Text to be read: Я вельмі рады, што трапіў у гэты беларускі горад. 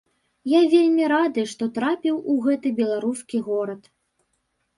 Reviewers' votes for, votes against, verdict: 2, 0, accepted